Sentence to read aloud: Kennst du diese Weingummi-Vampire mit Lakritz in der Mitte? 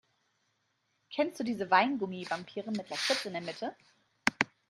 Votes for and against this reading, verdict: 2, 0, accepted